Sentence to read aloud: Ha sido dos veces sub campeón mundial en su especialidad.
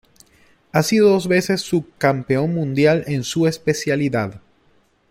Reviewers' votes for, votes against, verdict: 2, 0, accepted